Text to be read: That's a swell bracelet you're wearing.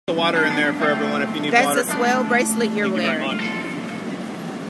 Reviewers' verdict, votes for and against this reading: rejected, 1, 2